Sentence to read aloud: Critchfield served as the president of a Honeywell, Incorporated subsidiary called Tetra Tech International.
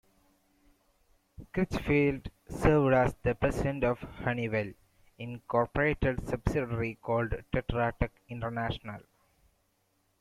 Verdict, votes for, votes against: rejected, 1, 2